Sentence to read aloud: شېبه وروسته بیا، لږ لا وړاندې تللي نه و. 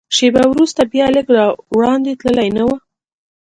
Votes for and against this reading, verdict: 0, 2, rejected